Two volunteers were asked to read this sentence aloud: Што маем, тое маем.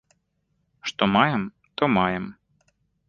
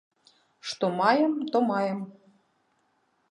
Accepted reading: first